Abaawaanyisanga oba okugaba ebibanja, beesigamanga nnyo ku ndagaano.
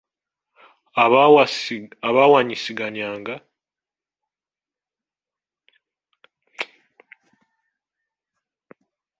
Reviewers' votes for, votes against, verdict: 0, 2, rejected